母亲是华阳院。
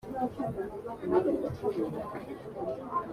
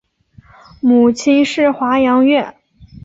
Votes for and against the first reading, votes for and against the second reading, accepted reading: 0, 2, 8, 0, second